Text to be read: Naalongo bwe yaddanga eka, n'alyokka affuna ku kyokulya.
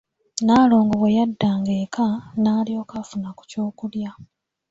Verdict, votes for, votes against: accepted, 2, 0